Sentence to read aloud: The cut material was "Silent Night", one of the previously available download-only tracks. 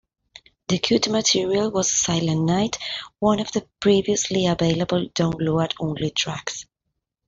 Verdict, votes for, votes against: rejected, 0, 2